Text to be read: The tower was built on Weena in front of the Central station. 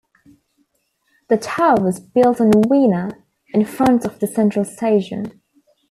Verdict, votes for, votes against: accepted, 2, 0